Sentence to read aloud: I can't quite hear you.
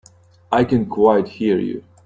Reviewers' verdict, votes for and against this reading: rejected, 1, 2